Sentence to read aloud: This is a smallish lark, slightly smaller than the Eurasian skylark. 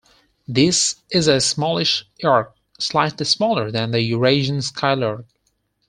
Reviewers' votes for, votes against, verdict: 4, 0, accepted